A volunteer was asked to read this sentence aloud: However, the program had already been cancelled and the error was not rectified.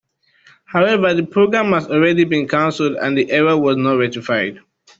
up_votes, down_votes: 0, 2